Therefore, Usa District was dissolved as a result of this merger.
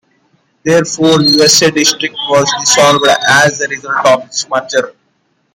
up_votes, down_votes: 0, 2